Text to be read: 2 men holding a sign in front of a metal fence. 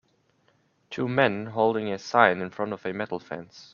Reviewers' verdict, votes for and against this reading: rejected, 0, 2